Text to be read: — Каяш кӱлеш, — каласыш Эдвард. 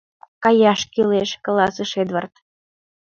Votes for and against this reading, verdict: 2, 0, accepted